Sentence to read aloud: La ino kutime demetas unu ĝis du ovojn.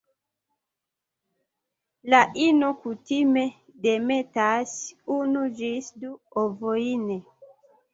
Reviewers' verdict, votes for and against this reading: accepted, 2, 0